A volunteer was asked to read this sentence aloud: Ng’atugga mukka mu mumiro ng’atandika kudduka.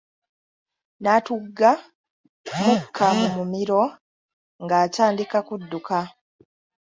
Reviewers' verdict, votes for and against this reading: rejected, 1, 2